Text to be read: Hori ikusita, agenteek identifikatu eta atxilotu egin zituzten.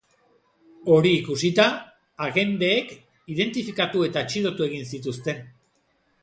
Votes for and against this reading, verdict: 3, 0, accepted